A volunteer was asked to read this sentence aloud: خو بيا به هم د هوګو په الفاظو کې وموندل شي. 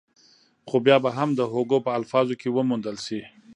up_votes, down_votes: 2, 1